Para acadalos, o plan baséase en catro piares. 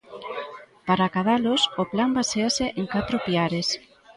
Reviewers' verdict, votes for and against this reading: rejected, 1, 2